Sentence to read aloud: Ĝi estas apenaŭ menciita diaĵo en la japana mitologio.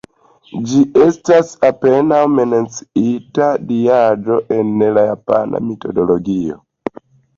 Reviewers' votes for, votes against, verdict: 1, 2, rejected